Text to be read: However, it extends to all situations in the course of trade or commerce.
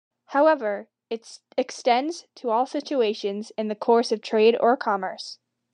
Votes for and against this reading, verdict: 1, 2, rejected